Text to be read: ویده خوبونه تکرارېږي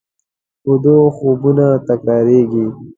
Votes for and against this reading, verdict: 2, 0, accepted